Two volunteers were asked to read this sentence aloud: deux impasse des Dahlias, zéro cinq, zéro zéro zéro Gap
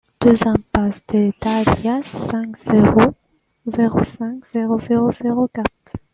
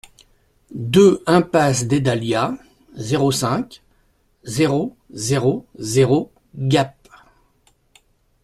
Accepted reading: second